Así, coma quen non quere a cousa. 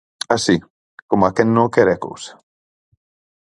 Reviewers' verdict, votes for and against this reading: accepted, 4, 0